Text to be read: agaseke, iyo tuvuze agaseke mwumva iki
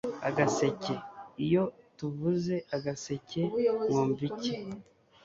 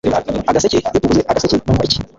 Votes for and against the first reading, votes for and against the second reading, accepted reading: 2, 0, 1, 2, first